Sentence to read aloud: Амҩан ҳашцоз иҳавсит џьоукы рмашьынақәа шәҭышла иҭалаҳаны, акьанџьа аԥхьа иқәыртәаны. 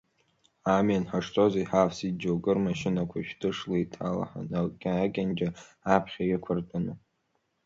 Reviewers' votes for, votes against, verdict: 1, 3, rejected